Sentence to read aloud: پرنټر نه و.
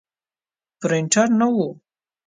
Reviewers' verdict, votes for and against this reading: accepted, 2, 1